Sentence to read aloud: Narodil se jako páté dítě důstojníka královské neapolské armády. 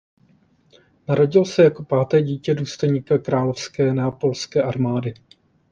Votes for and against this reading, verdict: 2, 0, accepted